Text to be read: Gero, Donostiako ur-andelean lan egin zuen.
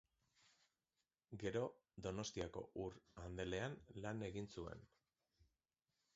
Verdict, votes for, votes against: accepted, 2, 0